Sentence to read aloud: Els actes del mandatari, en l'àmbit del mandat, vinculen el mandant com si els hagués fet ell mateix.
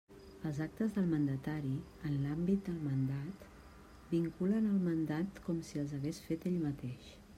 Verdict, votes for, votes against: rejected, 1, 2